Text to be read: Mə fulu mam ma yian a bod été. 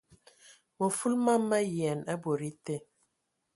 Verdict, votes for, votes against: accepted, 2, 0